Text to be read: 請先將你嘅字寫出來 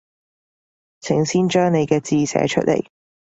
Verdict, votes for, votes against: rejected, 1, 2